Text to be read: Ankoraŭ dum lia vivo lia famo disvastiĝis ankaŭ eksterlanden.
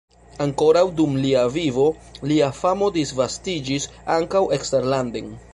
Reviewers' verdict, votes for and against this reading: accepted, 2, 0